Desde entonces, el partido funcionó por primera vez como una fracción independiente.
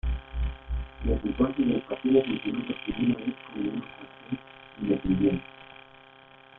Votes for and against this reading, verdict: 0, 3, rejected